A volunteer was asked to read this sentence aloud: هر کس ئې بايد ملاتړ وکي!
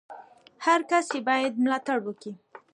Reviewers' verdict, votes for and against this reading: accepted, 2, 1